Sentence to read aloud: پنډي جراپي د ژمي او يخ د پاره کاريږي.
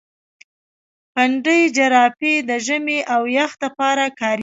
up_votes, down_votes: 2, 0